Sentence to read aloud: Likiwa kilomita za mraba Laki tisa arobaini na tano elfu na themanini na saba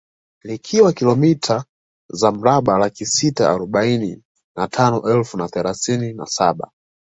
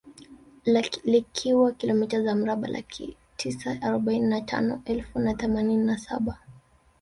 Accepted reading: first